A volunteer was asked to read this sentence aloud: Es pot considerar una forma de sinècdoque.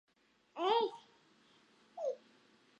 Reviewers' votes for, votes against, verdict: 0, 2, rejected